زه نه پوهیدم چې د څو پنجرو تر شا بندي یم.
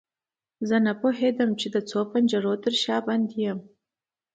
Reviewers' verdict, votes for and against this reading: accepted, 2, 0